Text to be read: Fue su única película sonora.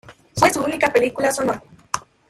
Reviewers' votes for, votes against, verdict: 2, 1, accepted